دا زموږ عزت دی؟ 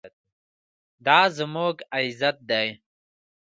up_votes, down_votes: 4, 0